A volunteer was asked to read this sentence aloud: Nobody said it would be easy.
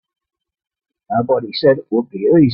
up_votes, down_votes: 1, 2